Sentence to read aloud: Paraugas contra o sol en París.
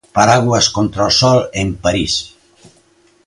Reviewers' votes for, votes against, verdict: 1, 2, rejected